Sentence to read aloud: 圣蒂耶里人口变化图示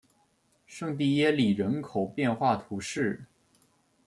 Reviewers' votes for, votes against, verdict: 2, 0, accepted